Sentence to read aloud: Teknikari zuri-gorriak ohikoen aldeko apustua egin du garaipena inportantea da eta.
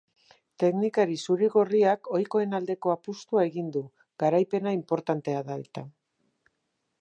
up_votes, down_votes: 6, 0